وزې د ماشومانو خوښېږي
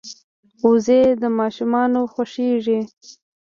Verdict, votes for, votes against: rejected, 0, 2